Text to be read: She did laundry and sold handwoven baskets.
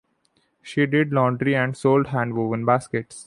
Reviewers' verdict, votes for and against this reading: accepted, 2, 0